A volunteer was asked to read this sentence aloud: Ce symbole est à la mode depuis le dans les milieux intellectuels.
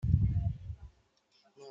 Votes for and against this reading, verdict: 0, 2, rejected